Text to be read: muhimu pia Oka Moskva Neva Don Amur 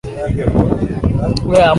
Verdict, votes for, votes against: rejected, 0, 2